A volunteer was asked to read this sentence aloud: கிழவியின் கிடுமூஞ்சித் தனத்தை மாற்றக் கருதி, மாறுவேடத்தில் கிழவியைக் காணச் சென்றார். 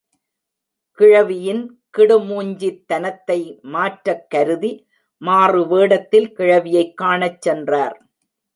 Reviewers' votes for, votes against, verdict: 1, 2, rejected